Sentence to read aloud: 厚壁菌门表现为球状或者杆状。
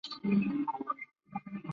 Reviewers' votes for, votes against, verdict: 4, 3, accepted